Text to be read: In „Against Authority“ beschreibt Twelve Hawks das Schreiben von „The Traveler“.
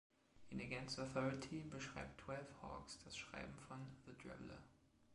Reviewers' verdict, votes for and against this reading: accepted, 2, 0